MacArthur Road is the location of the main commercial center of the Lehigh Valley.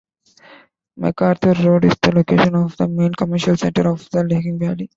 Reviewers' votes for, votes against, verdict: 1, 2, rejected